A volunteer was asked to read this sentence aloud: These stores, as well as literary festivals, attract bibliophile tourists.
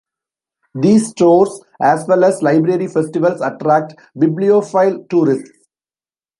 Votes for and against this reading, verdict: 1, 2, rejected